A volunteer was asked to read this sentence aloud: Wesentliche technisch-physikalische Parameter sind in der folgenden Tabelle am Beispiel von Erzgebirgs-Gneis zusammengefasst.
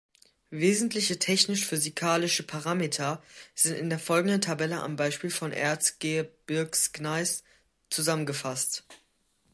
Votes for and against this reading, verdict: 1, 2, rejected